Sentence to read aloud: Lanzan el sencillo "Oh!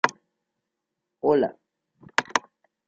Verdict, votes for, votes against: rejected, 0, 2